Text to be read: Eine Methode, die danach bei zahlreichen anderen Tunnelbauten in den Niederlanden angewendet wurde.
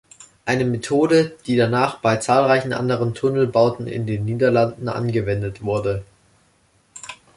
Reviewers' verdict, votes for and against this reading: accepted, 2, 0